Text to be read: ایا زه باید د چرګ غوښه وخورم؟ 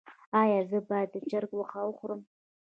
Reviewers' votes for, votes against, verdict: 1, 2, rejected